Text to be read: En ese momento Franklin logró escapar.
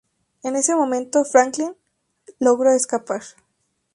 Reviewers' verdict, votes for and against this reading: accepted, 2, 0